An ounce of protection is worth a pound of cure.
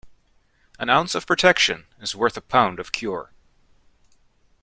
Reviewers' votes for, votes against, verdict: 2, 0, accepted